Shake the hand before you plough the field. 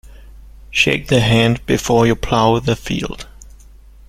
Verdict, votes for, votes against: accepted, 2, 0